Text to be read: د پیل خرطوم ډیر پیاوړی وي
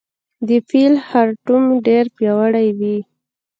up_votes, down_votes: 0, 2